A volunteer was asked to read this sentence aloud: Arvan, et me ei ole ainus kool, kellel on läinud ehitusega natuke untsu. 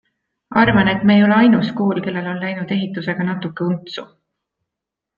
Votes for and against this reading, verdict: 2, 0, accepted